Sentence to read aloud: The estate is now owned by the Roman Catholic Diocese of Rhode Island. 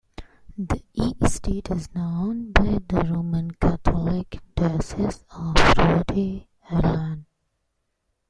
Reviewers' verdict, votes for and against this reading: rejected, 1, 2